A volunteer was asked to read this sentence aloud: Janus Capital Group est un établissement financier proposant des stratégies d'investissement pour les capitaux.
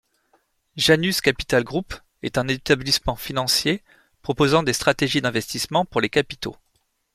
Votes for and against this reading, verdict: 2, 0, accepted